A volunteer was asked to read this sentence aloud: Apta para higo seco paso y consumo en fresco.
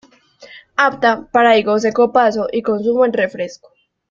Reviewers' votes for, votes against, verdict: 0, 2, rejected